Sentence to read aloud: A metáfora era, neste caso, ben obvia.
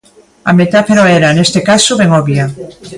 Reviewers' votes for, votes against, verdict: 2, 0, accepted